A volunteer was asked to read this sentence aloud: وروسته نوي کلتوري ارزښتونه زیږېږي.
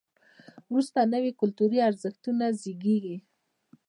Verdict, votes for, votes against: rejected, 1, 2